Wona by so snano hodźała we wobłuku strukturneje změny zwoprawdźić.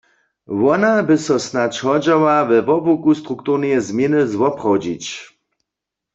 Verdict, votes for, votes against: rejected, 1, 2